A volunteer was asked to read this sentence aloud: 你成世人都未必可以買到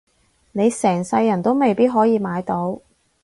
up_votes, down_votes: 2, 0